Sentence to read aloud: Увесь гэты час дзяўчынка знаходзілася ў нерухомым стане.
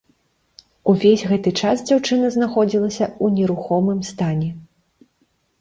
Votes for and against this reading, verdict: 0, 2, rejected